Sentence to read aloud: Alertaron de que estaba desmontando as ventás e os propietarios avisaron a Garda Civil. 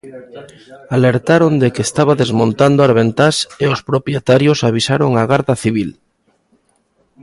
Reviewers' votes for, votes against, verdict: 2, 0, accepted